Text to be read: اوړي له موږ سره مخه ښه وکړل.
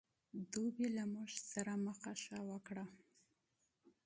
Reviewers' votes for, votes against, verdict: 1, 2, rejected